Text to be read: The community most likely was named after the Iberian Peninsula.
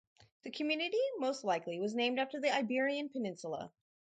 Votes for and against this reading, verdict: 4, 0, accepted